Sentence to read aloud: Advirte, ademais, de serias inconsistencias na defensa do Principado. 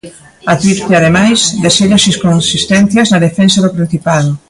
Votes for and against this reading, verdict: 1, 2, rejected